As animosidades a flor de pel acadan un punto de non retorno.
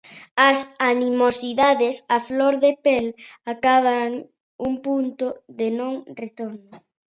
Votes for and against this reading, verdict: 2, 0, accepted